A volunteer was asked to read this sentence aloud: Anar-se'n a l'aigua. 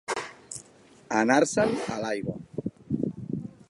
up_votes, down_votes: 2, 0